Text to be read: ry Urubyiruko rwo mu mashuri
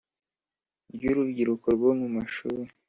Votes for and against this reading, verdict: 4, 0, accepted